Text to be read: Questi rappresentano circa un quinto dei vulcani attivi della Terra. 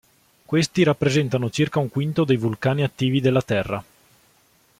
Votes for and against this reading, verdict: 2, 0, accepted